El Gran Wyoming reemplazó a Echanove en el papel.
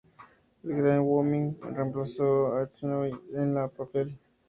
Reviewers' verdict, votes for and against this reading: rejected, 0, 2